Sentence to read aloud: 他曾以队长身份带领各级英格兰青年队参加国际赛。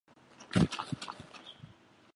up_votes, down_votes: 2, 1